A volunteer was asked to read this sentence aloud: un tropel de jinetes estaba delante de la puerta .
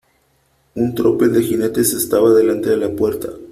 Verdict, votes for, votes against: accepted, 2, 1